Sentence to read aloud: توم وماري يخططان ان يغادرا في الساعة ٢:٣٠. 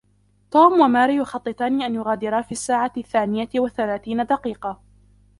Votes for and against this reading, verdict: 0, 2, rejected